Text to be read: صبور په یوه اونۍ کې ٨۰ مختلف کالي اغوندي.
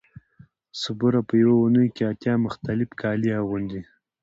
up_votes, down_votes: 0, 2